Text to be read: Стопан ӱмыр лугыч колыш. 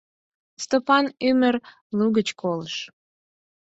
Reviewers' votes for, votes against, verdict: 4, 0, accepted